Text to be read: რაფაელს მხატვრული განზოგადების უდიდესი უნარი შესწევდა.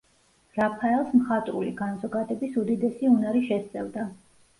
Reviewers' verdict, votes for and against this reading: accepted, 2, 0